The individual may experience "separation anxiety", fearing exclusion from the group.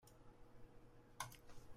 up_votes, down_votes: 0, 2